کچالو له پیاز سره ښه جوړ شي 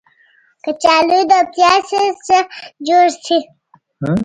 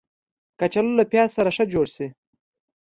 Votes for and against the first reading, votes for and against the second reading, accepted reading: 1, 2, 2, 0, second